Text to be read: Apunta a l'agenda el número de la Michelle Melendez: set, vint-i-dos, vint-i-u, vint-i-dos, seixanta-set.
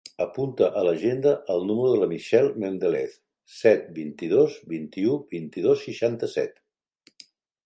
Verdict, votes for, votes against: rejected, 0, 2